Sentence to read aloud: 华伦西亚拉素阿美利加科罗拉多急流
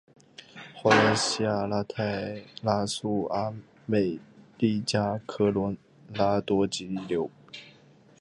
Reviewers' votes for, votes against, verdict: 0, 2, rejected